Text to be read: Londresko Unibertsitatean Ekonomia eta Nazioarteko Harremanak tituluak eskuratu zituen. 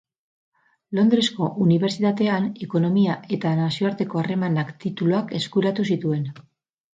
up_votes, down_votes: 2, 0